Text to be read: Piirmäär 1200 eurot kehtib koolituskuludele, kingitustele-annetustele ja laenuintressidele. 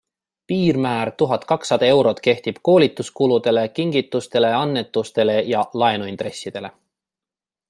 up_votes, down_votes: 0, 2